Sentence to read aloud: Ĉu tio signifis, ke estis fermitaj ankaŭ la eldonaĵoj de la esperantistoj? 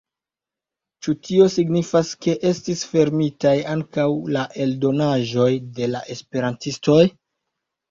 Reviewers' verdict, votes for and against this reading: rejected, 1, 2